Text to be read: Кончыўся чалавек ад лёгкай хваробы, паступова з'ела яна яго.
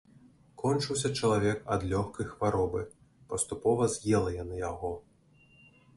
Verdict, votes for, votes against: accepted, 2, 0